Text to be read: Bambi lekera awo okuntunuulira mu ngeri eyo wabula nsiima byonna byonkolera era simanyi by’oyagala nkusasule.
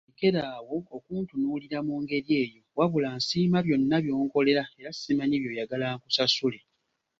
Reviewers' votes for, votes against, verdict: 1, 2, rejected